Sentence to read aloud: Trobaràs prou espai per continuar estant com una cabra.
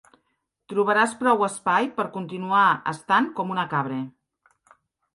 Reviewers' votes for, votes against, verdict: 3, 0, accepted